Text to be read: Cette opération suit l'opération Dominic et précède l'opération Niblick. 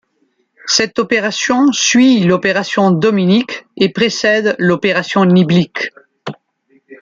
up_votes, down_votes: 2, 0